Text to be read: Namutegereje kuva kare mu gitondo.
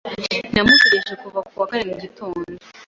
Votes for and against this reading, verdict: 1, 2, rejected